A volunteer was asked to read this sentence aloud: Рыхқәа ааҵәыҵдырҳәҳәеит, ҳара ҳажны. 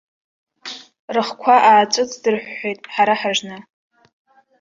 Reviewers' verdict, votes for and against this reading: rejected, 1, 2